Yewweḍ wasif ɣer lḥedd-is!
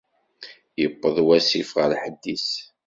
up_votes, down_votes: 2, 0